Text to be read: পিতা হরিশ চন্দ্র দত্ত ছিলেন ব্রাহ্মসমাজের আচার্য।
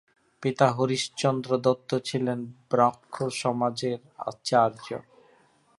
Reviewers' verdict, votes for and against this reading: rejected, 0, 2